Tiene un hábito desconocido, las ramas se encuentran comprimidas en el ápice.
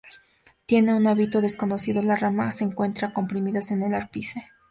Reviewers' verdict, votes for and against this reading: accepted, 2, 0